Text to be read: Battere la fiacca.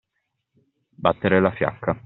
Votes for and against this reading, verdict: 2, 1, accepted